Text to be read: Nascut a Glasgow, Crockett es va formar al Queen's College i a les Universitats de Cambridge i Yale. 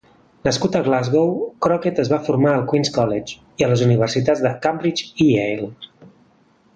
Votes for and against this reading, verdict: 2, 1, accepted